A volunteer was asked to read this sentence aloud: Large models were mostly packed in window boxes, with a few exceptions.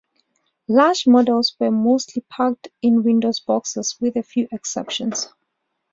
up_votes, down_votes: 2, 0